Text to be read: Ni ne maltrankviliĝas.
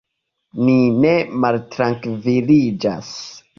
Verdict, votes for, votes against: accepted, 3, 0